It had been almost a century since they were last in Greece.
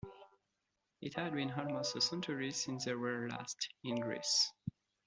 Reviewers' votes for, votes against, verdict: 2, 0, accepted